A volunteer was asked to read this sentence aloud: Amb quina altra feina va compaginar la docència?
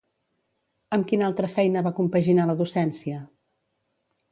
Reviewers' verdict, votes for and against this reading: accepted, 2, 0